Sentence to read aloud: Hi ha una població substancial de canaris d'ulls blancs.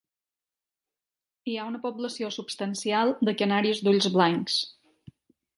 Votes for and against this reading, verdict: 0, 2, rejected